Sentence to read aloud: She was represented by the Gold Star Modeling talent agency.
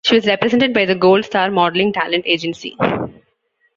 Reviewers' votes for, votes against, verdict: 2, 1, accepted